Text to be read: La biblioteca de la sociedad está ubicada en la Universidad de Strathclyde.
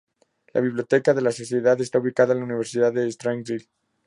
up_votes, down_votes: 0, 2